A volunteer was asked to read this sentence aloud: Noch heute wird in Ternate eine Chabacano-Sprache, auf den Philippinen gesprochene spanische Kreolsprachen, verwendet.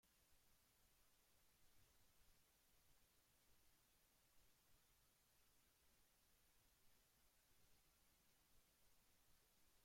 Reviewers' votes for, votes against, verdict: 0, 2, rejected